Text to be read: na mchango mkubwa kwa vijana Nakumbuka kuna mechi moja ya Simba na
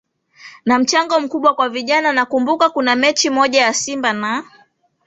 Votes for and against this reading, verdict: 3, 0, accepted